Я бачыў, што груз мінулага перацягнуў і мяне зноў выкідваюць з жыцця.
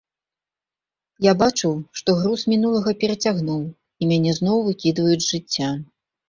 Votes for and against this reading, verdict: 4, 0, accepted